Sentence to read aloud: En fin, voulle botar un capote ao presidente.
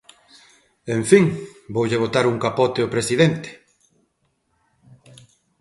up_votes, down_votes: 2, 0